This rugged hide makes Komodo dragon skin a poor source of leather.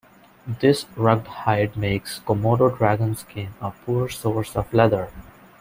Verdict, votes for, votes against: rejected, 1, 2